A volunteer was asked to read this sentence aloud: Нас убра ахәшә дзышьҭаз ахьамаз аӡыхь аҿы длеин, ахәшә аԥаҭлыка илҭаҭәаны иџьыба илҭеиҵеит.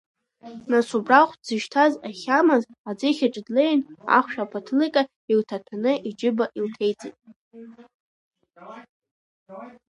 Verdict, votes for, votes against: rejected, 0, 2